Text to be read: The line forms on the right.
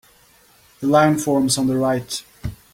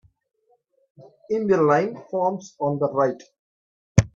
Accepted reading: first